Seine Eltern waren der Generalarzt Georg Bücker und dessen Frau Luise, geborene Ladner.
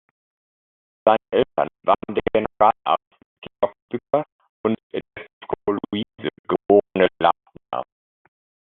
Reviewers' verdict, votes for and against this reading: rejected, 0, 3